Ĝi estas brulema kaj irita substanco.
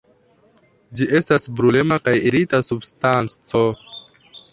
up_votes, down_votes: 2, 0